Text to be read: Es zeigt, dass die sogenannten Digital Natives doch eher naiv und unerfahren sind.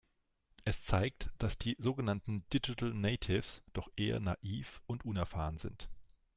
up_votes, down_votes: 3, 0